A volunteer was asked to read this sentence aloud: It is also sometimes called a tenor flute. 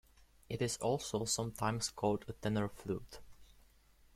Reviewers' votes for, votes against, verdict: 2, 0, accepted